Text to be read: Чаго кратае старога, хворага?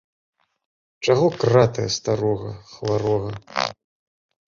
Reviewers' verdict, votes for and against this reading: rejected, 1, 2